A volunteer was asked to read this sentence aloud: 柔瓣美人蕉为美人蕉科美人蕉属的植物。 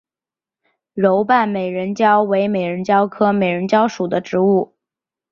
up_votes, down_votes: 3, 0